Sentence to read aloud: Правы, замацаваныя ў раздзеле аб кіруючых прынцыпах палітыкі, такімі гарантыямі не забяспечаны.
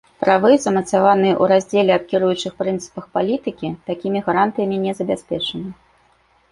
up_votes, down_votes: 1, 2